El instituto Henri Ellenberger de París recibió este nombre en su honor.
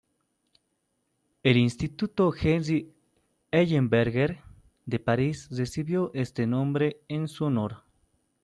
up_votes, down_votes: 2, 0